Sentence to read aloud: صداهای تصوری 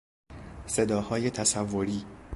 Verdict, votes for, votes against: accepted, 2, 0